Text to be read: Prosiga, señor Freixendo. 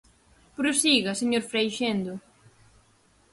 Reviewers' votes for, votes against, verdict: 4, 0, accepted